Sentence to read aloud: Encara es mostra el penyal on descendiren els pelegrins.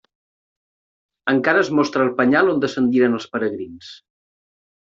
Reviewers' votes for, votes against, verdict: 0, 2, rejected